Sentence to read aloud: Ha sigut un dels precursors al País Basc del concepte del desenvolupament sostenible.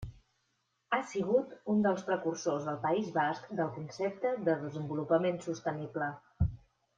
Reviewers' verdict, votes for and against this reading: accepted, 2, 1